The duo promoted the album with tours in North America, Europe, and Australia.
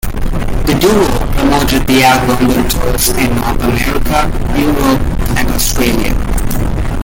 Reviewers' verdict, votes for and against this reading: rejected, 1, 2